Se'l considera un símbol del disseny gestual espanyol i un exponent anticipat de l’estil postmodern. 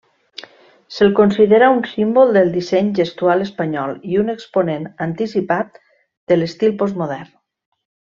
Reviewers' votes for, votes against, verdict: 3, 0, accepted